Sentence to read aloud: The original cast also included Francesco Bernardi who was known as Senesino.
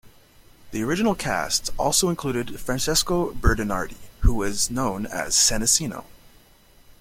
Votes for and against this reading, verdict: 0, 2, rejected